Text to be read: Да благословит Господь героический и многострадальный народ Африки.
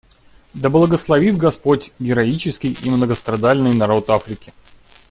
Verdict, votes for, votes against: accepted, 2, 0